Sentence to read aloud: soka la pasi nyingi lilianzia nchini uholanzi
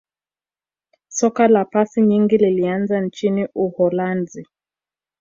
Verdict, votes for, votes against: accepted, 2, 0